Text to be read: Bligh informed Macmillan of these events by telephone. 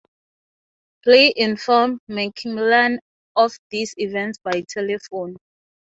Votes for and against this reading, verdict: 3, 0, accepted